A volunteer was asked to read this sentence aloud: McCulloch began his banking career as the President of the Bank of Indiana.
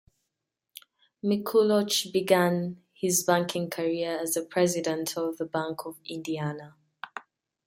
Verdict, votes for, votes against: rejected, 0, 2